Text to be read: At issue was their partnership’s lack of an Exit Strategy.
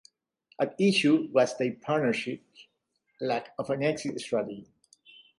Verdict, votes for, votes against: rejected, 0, 2